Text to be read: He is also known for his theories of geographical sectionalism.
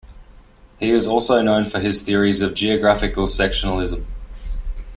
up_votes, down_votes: 2, 1